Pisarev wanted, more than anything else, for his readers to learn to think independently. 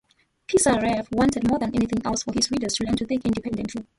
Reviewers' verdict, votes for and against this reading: rejected, 0, 2